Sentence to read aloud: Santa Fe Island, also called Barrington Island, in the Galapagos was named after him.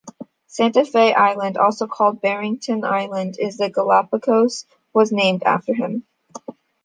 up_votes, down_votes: 0, 2